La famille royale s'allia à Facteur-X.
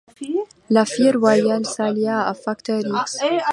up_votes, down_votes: 0, 2